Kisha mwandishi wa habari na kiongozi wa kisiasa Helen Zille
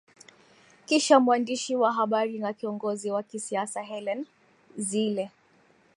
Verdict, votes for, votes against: rejected, 2, 3